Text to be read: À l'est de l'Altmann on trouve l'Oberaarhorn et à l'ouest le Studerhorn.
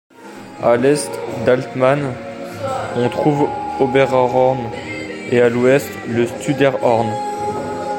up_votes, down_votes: 1, 3